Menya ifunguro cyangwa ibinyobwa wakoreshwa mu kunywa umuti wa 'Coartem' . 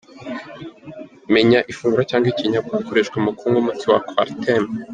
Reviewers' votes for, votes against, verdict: 3, 2, accepted